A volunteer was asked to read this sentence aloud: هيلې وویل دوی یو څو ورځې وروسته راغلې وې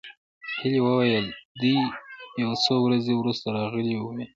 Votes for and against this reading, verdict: 1, 2, rejected